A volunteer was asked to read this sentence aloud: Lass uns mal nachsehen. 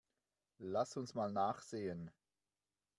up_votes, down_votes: 2, 0